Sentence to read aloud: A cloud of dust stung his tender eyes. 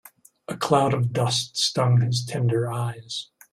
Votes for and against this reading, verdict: 2, 0, accepted